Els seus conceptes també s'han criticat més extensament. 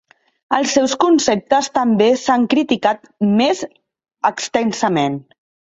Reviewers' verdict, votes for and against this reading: rejected, 1, 2